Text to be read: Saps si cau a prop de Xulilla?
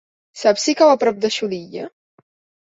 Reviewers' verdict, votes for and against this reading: accepted, 2, 0